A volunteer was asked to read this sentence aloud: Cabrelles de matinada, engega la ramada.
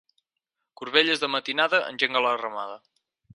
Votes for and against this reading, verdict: 2, 4, rejected